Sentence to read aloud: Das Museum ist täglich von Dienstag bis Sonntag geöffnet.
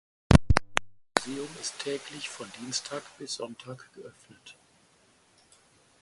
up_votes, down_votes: 2, 4